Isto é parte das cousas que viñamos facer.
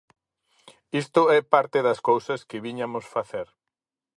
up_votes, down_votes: 0, 4